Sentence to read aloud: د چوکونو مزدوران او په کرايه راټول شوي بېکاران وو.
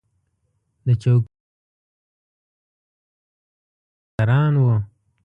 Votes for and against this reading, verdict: 0, 2, rejected